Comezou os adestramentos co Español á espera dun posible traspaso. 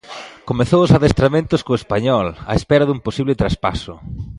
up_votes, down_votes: 2, 0